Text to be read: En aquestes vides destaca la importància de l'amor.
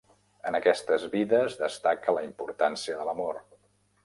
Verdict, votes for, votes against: accepted, 3, 0